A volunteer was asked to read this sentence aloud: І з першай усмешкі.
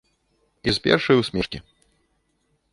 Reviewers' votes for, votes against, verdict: 2, 0, accepted